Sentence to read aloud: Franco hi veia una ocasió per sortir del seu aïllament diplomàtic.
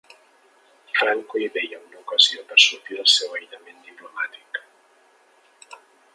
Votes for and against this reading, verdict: 2, 0, accepted